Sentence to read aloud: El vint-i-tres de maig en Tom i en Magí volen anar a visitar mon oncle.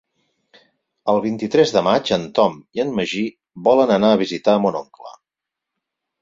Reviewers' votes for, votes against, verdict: 4, 0, accepted